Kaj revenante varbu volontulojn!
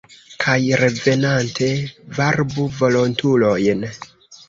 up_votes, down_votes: 2, 0